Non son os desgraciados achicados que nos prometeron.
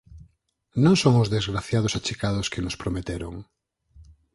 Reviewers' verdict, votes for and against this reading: accepted, 4, 2